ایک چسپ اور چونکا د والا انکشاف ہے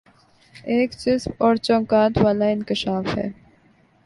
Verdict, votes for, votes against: accepted, 3, 1